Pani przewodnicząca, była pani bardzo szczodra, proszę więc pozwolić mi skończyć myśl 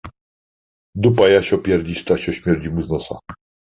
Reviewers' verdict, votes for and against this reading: rejected, 0, 2